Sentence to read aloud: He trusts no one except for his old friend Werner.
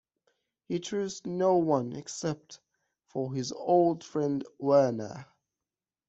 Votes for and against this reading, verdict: 2, 1, accepted